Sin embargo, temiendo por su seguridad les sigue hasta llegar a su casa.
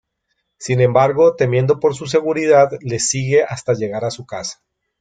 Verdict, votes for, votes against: accepted, 2, 0